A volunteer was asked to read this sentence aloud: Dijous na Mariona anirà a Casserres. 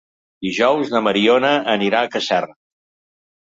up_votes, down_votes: 1, 2